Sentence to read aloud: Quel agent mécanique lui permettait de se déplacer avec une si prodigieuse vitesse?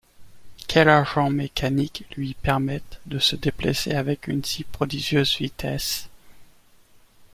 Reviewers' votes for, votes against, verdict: 1, 2, rejected